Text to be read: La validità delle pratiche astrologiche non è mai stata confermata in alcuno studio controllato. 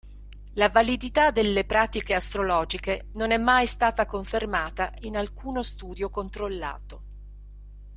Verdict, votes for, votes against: accepted, 2, 0